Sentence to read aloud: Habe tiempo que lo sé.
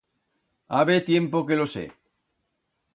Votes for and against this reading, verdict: 2, 0, accepted